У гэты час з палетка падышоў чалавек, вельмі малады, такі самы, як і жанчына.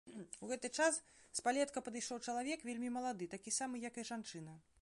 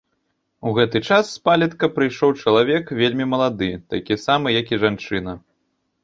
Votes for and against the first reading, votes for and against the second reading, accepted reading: 3, 0, 0, 2, first